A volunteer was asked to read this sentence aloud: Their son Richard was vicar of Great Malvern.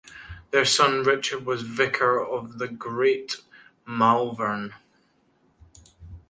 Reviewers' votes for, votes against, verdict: 1, 2, rejected